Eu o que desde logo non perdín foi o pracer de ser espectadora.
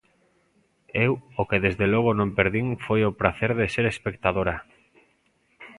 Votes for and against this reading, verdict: 2, 0, accepted